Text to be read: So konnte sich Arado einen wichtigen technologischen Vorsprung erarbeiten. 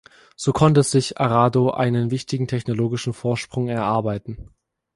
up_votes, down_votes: 2, 0